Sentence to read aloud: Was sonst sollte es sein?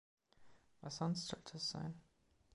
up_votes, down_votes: 2, 0